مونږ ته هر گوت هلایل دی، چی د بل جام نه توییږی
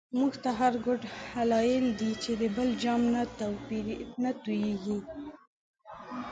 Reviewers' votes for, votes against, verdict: 2, 1, accepted